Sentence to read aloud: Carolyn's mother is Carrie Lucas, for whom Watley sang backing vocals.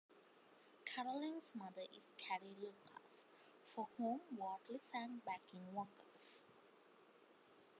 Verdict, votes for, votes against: accepted, 2, 0